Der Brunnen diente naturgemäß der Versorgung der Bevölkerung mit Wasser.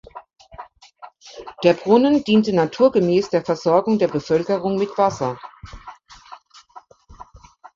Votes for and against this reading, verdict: 2, 0, accepted